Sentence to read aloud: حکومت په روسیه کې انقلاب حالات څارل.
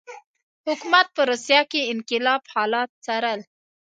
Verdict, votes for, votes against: accepted, 2, 0